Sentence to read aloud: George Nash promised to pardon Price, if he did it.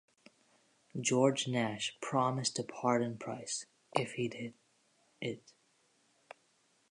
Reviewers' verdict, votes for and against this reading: rejected, 1, 2